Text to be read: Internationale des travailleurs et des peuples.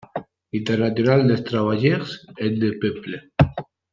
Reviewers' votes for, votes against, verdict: 2, 1, accepted